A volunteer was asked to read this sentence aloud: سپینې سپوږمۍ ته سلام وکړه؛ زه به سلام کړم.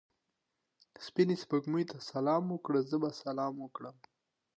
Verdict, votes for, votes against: accepted, 2, 0